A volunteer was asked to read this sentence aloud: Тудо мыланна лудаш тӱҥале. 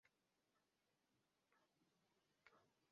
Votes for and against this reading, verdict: 0, 2, rejected